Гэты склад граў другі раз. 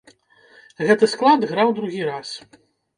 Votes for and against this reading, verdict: 2, 1, accepted